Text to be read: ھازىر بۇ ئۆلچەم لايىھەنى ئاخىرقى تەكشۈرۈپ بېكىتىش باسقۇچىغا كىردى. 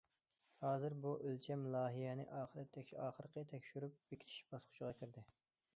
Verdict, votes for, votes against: rejected, 0, 2